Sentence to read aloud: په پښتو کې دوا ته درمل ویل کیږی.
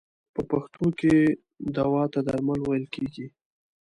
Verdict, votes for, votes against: accepted, 2, 0